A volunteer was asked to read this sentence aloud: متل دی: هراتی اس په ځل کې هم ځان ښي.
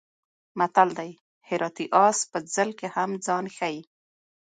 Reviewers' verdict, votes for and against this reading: accepted, 2, 0